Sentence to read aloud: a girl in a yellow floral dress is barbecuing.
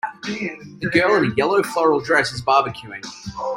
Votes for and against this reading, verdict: 2, 0, accepted